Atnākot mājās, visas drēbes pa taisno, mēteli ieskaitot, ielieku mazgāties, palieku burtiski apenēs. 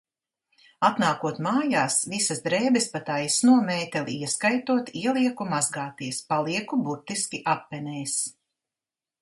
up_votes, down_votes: 2, 0